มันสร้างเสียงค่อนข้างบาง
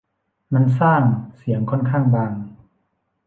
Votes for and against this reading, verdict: 2, 0, accepted